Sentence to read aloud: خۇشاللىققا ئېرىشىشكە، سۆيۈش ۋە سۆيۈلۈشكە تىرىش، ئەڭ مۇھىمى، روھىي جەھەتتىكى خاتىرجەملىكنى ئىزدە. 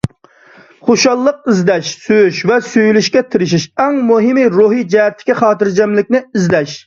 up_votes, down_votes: 0, 2